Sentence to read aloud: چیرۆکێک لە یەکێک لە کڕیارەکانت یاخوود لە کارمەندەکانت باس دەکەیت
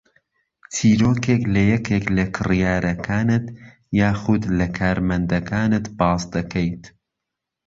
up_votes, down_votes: 2, 0